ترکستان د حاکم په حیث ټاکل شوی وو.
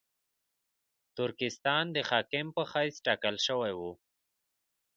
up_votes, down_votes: 2, 0